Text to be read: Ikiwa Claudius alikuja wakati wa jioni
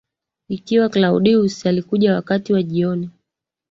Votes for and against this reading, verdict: 2, 1, accepted